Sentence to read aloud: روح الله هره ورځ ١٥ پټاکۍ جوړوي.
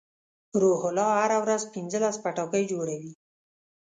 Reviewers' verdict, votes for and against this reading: rejected, 0, 2